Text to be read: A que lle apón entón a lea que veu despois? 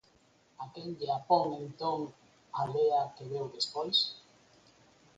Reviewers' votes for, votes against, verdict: 4, 0, accepted